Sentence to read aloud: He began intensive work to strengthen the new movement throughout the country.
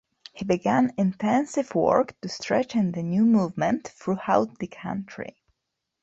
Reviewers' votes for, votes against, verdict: 0, 2, rejected